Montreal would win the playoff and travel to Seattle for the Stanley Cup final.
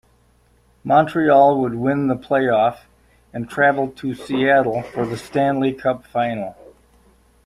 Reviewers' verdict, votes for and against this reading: rejected, 0, 3